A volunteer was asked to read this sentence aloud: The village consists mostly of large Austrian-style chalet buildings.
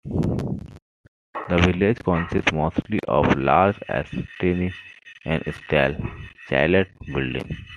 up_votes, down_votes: 1, 2